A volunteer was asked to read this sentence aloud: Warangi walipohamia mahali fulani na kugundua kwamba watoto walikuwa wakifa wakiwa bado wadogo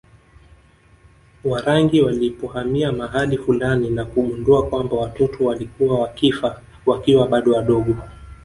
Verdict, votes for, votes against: rejected, 1, 2